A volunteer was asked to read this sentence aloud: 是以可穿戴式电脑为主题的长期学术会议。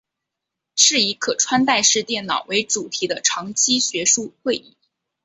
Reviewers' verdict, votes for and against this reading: accepted, 7, 0